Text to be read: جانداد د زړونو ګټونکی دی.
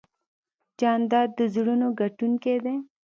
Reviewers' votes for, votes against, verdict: 2, 0, accepted